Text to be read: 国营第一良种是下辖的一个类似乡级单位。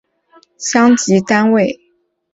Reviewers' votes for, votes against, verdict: 1, 2, rejected